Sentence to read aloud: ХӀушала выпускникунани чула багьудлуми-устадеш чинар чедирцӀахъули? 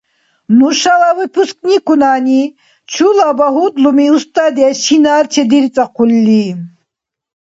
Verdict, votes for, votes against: rejected, 0, 2